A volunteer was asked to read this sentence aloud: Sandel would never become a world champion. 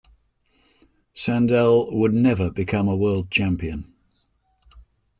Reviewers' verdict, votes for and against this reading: accepted, 2, 0